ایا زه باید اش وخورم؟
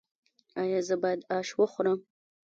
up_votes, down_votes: 1, 2